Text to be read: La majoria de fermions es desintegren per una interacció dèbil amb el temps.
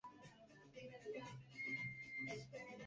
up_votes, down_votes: 0, 2